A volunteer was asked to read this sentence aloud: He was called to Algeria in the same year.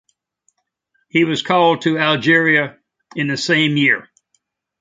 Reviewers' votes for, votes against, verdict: 2, 0, accepted